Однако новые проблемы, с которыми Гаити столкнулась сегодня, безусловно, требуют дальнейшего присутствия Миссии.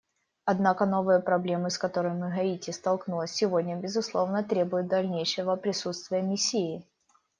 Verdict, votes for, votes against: rejected, 1, 2